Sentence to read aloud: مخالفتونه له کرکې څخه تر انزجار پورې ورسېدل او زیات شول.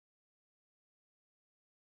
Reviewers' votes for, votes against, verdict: 1, 2, rejected